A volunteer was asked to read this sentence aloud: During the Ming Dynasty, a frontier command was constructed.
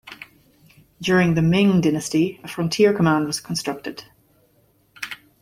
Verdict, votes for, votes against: accepted, 2, 0